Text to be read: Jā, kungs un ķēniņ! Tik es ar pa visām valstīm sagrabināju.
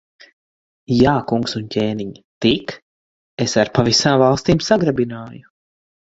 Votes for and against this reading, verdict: 4, 0, accepted